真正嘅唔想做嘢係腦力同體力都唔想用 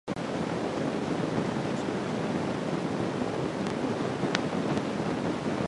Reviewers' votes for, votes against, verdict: 0, 2, rejected